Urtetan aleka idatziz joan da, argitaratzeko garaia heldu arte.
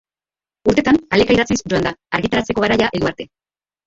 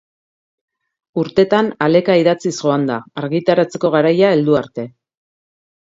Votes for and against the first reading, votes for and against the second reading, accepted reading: 0, 2, 2, 0, second